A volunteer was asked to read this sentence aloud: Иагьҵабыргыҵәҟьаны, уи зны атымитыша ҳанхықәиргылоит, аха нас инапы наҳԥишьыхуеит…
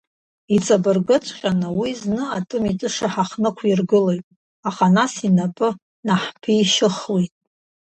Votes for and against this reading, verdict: 0, 2, rejected